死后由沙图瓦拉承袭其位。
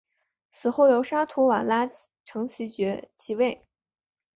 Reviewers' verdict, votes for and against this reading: rejected, 1, 2